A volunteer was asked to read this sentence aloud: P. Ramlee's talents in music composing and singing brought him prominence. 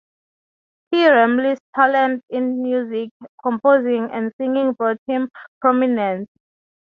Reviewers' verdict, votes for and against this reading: accepted, 3, 0